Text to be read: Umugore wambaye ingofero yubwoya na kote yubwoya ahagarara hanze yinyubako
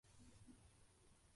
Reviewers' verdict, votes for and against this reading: rejected, 0, 3